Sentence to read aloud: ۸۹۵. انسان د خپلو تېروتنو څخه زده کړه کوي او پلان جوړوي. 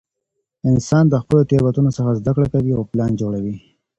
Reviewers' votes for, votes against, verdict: 0, 2, rejected